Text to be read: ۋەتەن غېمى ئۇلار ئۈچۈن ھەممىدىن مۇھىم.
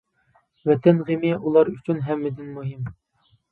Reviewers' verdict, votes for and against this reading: accepted, 2, 0